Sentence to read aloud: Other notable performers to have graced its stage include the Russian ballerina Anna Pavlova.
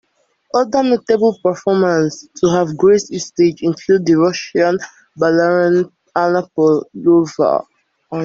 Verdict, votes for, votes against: accepted, 2, 0